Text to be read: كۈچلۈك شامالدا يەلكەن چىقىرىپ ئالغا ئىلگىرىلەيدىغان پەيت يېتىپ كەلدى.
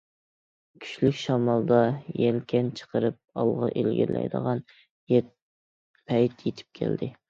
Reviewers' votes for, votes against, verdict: 0, 2, rejected